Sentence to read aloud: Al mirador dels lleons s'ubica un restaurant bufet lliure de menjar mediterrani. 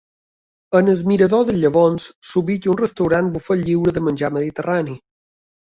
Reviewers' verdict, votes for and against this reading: rejected, 1, 4